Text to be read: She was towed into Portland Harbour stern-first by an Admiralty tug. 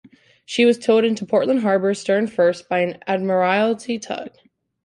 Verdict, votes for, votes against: accepted, 2, 1